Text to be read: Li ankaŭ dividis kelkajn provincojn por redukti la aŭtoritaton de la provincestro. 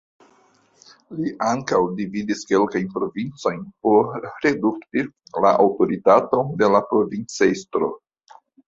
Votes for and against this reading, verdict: 2, 1, accepted